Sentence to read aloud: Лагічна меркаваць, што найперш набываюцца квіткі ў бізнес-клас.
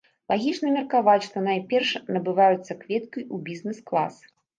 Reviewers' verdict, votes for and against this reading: rejected, 0, 2